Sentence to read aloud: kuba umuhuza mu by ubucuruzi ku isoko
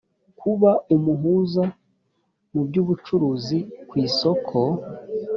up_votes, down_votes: 2, 0